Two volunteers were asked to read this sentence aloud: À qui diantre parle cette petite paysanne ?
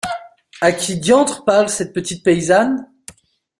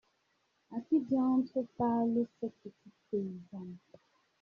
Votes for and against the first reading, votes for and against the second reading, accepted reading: 3, 0, 0, 2, first